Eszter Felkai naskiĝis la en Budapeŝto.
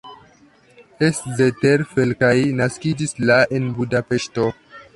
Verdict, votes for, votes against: rejected, 0, 2